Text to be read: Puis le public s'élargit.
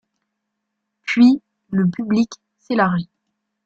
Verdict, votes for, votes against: rejected, 0, 2